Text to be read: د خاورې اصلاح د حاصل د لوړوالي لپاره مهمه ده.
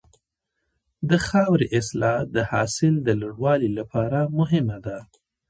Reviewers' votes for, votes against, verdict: 2, 0, accepted